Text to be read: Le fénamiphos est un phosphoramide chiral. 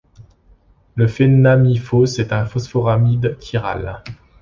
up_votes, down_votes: 1, 2